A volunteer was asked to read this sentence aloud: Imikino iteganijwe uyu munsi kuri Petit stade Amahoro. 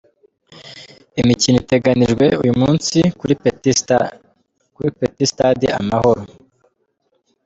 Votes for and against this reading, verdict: 0, 2, rejected